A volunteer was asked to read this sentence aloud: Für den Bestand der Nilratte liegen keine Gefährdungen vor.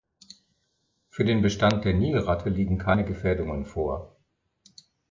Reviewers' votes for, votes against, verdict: 2, 0, accepted